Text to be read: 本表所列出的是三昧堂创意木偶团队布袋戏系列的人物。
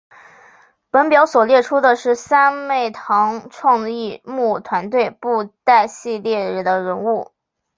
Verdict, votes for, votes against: accepted, 5, 0